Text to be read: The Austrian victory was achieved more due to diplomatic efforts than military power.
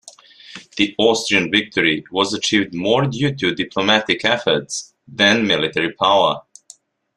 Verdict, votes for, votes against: rejected, 1, 2